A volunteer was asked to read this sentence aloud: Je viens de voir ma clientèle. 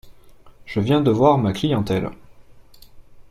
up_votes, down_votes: 2, 0